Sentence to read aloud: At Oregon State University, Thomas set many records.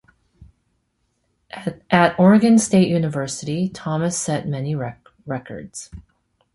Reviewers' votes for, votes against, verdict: 0, 2, rejected